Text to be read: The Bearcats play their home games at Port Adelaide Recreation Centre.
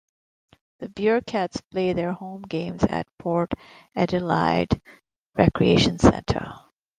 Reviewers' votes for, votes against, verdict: 2, 1, accepted